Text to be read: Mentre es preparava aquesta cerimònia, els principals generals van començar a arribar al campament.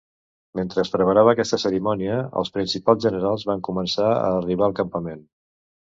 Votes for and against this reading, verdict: 2, 0, accepted